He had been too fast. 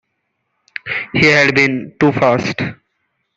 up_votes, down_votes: 2, 0